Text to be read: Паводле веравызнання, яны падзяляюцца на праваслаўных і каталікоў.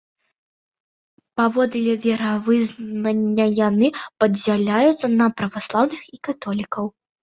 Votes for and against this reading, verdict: 0, 2, rejected